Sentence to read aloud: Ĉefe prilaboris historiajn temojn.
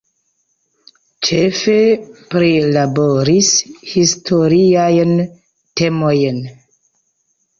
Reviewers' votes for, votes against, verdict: 1, 2, rejected